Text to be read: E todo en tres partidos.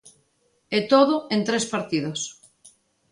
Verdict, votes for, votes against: accepted, 2, 0